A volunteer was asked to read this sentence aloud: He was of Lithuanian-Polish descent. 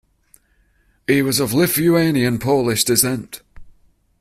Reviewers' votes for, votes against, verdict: 1, 2, rejected